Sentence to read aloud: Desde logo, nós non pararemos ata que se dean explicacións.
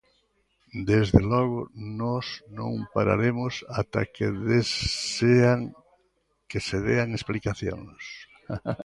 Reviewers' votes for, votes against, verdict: 0, 2, rejected